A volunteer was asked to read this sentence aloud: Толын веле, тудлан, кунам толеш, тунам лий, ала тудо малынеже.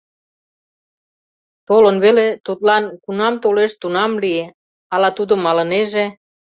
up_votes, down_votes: 0, 2